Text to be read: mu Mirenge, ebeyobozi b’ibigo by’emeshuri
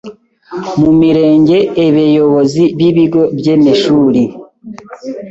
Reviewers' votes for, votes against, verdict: 1, 2, rejected